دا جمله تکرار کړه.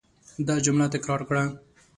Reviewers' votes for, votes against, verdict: 2, 0, accepted